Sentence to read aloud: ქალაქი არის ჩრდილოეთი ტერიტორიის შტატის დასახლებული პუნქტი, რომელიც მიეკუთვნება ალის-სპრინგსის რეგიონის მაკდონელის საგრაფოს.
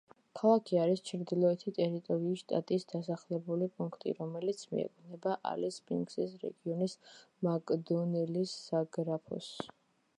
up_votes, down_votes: 2, 0